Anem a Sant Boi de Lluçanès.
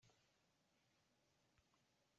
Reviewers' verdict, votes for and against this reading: rejected, 0, 2